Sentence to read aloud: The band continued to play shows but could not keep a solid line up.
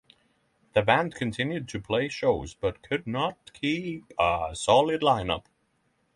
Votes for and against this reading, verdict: 6, 0, accepted